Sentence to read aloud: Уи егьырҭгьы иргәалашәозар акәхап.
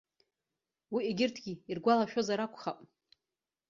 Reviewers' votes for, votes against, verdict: 2, 0, accepted